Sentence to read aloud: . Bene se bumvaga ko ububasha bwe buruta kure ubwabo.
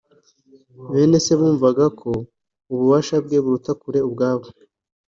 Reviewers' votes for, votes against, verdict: 3, 0, accepted